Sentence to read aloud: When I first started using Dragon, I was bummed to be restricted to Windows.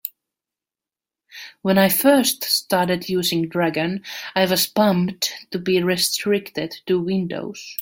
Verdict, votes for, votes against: accepted, 2, 1